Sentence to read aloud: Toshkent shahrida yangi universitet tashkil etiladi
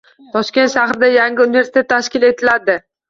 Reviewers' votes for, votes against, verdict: 2, 0, accepted